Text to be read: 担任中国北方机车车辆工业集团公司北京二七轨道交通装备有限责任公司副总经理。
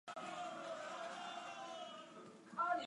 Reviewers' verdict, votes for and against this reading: rejected, 1, 4